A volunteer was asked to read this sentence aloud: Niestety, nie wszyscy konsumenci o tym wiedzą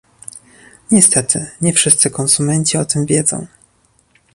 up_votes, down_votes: 2, 0